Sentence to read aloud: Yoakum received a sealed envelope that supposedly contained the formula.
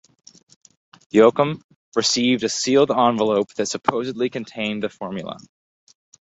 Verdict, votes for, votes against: accepted, 4, 0